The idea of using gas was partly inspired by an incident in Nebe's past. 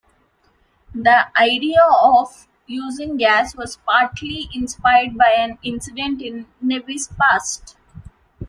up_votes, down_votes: 2, 0